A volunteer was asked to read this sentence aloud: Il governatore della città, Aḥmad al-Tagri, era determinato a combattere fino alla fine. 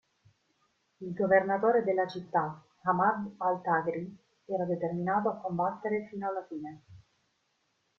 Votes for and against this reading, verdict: 2, 1, accepted